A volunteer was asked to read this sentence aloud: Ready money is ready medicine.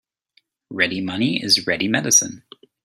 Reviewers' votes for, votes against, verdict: 2, 0, accepted